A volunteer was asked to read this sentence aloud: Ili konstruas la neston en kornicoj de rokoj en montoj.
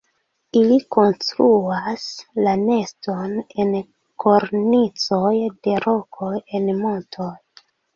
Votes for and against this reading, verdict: 2, 1, accepted